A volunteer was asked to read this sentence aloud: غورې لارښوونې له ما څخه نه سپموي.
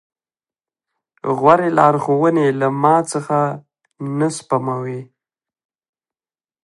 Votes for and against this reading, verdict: 0, 2, rejected